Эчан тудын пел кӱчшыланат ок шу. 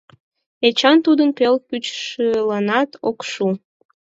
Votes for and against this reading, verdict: 6, 10, rejected